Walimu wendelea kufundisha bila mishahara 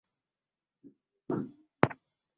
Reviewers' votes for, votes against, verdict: 1, 2, rejected